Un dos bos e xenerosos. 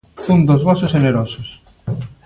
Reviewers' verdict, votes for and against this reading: accepted, 3, 0